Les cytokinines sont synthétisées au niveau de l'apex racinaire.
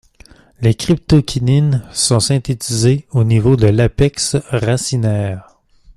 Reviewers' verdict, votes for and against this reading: rejected, 0, 3